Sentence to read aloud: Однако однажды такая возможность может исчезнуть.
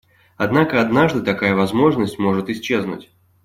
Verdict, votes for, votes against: accepted, 2, 0